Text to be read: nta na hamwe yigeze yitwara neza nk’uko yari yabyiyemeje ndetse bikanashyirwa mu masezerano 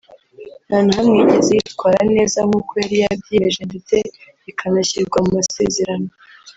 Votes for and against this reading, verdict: 1, 2, rejected